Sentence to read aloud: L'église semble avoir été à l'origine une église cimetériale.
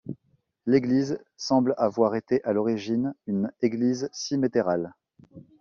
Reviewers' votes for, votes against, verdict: 1, 2, rejected